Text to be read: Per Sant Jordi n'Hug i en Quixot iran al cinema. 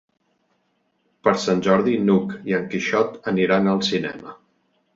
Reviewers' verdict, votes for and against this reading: rejected, 0, 2